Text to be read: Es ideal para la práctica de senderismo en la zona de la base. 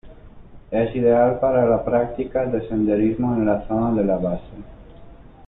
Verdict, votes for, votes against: accepted, 2, 0